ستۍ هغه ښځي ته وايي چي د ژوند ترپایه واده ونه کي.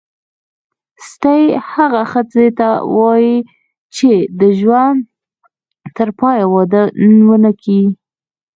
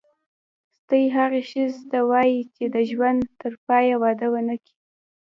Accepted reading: first